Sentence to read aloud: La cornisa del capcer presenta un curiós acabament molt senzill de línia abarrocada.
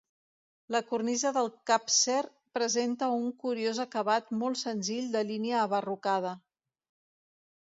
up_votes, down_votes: 0, 2